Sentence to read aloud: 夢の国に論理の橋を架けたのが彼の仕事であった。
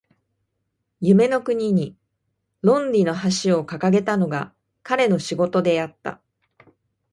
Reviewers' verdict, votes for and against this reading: rejected, 0, 2